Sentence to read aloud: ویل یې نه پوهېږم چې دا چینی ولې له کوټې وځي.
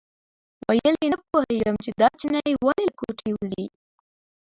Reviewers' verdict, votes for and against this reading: accepted, 2, 0